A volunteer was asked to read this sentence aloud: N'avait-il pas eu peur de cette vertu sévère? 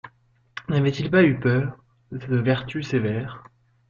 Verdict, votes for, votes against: rejected, 0, 2